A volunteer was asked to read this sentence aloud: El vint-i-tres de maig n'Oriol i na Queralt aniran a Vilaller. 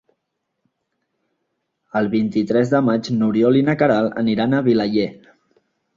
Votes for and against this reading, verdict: 2, 0, accepted